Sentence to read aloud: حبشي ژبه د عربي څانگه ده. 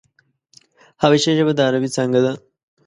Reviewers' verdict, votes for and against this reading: accepted, 2, 0